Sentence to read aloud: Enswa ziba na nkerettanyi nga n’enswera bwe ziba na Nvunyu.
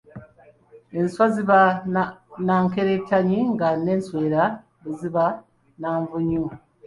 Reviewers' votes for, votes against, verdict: 2, 0, accepted